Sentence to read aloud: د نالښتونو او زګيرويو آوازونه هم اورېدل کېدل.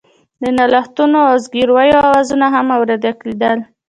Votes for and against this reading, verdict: 2, 0, accepted